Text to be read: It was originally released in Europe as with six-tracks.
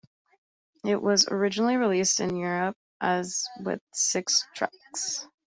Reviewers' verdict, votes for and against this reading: rejected, 1, 2